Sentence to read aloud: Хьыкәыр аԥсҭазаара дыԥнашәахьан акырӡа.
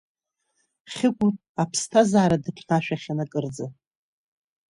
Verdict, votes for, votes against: accepted, 2, 0